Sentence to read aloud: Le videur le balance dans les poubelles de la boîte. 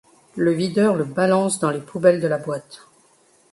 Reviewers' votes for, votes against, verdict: 2, 0, accepted